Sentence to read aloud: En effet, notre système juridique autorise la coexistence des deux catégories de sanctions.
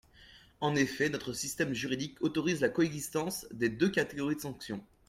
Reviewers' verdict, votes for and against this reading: accepted, 2, 0